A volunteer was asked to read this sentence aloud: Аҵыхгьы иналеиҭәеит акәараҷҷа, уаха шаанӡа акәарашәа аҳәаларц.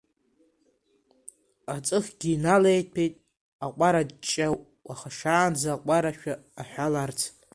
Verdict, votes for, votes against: rejected, 1, 2